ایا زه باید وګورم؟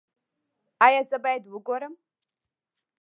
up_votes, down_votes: 2, 0